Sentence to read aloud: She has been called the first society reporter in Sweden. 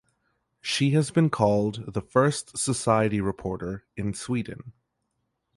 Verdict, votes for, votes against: accepted, 2, 0